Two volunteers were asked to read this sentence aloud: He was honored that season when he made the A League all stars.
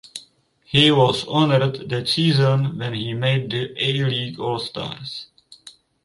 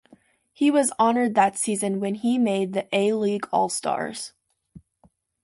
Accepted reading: second